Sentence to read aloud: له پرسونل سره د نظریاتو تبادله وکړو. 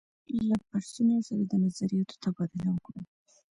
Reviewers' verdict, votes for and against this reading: rejected, 1, 2